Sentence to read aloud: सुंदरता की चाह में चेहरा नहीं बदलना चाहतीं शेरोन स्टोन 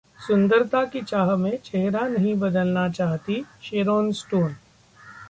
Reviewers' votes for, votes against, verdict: 2, 0, accepted